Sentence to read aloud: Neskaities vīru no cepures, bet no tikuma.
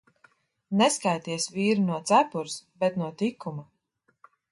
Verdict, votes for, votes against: accepted, 2, 0